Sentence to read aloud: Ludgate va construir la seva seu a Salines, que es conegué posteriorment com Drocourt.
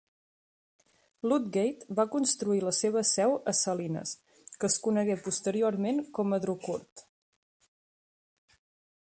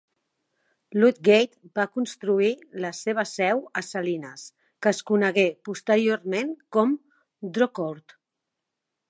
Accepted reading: second